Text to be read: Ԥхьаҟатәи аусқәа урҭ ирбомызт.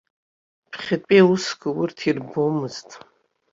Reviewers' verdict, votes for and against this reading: rejected, 0, 2